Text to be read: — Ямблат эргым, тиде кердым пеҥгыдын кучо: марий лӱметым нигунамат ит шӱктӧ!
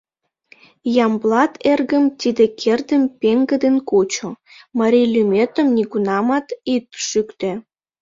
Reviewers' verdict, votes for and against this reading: accepted, 2, 0